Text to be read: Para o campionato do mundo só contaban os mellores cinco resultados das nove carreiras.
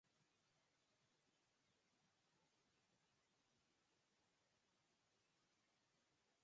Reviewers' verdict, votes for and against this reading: rejected, 0, 4